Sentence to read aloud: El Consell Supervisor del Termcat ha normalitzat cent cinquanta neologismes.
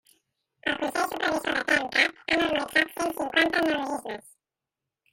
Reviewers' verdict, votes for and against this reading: rejected, 0, 2